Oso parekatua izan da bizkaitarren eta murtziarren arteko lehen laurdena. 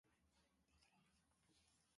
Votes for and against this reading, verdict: 0, 2, rejected